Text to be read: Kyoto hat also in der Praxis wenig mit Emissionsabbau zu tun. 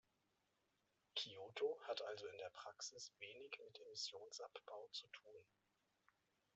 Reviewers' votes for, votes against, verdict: 2, 0, accepted